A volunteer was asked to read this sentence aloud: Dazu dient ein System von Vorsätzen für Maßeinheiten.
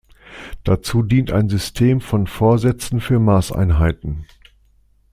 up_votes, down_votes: 2, 0